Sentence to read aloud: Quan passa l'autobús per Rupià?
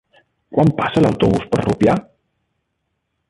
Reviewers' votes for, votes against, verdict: 3, 1, accepted